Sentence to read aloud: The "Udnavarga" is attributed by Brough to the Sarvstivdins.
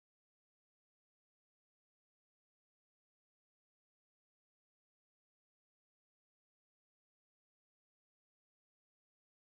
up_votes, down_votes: 0, 2